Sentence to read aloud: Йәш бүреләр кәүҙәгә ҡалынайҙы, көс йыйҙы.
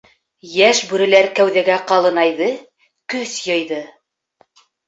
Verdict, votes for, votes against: accepted, 2, 0